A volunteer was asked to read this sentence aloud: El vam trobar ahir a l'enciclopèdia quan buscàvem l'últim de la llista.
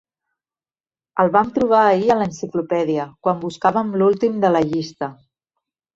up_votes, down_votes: 2, 0